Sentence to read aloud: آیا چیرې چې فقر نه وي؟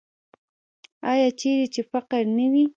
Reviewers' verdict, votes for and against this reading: rejected, 0, 2